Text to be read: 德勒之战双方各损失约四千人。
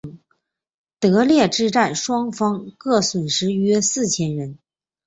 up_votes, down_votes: 4, 0